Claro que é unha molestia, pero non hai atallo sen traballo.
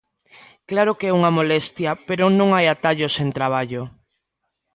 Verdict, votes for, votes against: accepted, 2, 0